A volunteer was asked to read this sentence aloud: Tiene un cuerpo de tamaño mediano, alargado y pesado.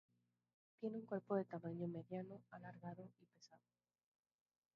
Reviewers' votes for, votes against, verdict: 0, 2, rejected